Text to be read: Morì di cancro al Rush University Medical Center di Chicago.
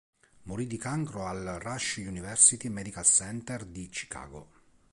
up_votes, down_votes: 2, 0